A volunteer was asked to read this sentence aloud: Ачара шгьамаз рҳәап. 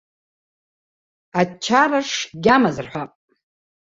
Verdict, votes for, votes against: rejected, 1, 2